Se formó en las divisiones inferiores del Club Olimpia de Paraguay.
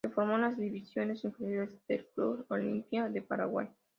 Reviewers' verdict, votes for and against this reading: rejected, 1, 2